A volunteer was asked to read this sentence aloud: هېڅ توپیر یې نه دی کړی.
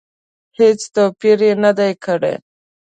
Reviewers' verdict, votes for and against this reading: accepted, 2, 0